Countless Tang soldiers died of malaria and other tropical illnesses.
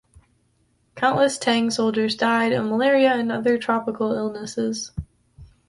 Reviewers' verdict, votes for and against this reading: accepted, 2, 0